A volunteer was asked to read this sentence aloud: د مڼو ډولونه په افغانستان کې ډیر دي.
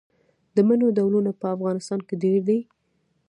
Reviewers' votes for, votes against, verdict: 1, 2, rejected